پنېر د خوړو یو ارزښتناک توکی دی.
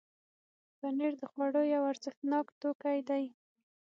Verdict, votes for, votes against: accepted, 6, 0